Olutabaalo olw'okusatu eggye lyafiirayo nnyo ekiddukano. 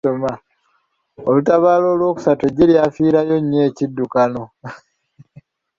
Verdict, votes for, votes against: rejected, 0, 2